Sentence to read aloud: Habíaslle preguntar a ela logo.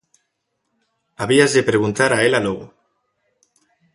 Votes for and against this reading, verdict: 2, 0, accepted